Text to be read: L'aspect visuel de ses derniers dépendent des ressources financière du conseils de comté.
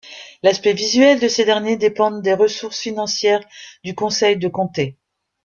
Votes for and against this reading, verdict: 2, 0, accepted